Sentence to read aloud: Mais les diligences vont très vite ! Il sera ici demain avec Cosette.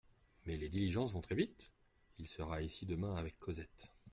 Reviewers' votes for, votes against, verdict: 2, 0, accepted